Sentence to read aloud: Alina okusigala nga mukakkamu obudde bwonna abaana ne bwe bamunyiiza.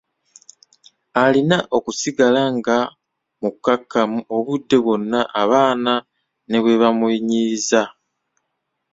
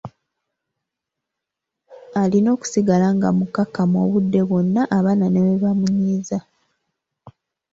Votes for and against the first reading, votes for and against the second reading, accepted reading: 0, 2, 2, 1, second